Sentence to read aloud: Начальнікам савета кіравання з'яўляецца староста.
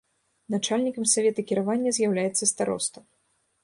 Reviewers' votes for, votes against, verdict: 1, 2, rejected